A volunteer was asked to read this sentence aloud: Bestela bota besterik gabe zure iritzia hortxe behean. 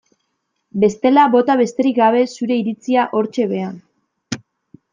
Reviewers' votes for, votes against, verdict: 2, 0, accepted